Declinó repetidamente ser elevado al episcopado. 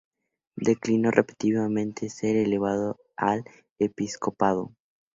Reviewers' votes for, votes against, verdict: 2, 0, accepted